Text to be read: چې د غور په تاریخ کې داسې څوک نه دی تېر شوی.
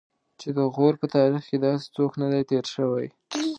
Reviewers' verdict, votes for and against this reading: accepted, 2, 0